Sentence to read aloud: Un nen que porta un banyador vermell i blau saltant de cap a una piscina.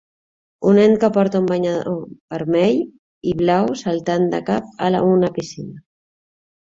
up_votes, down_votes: 0, 2